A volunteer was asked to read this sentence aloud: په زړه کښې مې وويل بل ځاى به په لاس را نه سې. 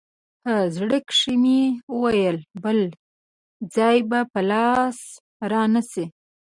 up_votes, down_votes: 1, 2